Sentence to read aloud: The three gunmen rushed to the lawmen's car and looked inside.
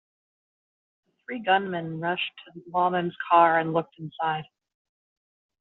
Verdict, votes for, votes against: rejected, 1, 2